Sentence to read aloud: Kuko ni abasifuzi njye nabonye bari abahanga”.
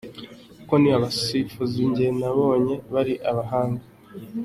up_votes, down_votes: 2, 0